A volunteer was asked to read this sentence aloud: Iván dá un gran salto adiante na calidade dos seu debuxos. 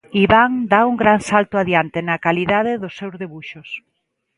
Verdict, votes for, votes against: accepted, 2, 0